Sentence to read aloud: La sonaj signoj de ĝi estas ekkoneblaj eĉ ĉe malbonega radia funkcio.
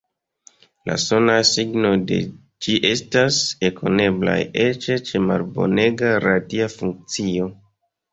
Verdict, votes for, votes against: rejected, 0, 2